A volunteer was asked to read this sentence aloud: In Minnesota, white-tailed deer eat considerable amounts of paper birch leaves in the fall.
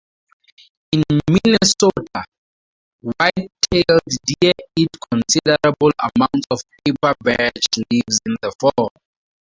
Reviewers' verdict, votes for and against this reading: rejected, 0, 4